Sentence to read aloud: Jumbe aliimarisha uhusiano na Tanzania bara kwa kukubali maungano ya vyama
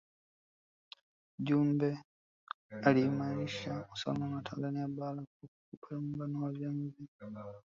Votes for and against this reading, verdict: 1, 2, rejected